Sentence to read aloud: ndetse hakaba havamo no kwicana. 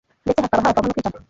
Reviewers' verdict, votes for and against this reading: rejected, 1, 2